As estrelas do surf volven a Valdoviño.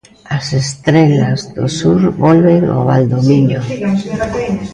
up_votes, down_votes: 0, 2